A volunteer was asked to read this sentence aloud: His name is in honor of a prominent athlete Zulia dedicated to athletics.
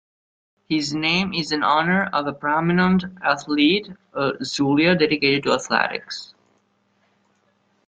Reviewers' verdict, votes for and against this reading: rejected, 1, 2